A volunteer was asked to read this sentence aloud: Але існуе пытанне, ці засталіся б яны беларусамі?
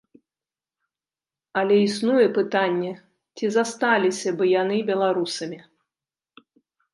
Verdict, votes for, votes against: accepted, 2, 0